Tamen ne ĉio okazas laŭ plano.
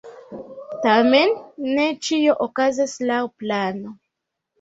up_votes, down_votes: 2, 0